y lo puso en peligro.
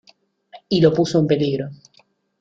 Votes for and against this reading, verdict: 2, 0, accepted